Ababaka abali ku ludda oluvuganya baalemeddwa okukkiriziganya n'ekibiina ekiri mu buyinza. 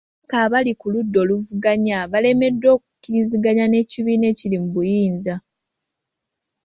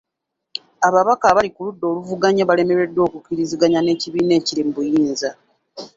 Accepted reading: second